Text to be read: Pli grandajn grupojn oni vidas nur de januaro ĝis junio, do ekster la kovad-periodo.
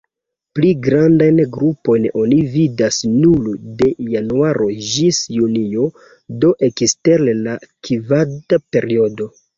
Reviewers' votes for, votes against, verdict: 0, 2, rejected